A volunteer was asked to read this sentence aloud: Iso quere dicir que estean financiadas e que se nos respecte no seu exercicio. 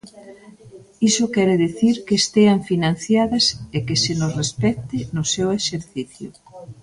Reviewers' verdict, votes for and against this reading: accepted, 2, 0